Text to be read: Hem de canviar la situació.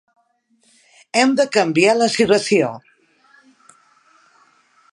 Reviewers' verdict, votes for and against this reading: rejected, 0, 2